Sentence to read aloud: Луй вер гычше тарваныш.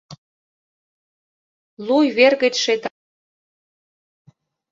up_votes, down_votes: 0, 2